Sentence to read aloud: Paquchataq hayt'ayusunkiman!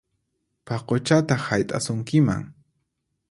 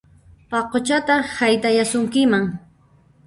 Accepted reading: first